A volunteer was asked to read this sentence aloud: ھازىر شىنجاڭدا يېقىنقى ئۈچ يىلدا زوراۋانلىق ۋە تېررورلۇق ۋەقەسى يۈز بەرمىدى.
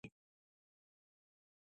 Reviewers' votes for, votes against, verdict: 0, 2, rejected